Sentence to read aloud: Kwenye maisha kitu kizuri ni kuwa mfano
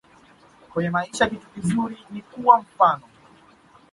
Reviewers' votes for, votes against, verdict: 2, 0, accepted